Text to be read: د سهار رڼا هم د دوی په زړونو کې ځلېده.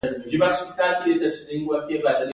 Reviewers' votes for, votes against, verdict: 2, 1, accepted